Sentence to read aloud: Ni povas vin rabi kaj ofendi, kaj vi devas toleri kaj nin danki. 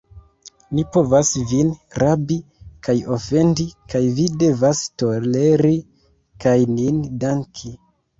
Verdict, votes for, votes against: rejected, 1, 2